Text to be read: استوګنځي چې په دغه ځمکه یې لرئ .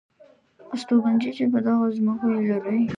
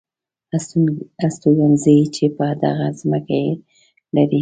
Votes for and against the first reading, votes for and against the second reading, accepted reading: 2, 1, 1, 2, first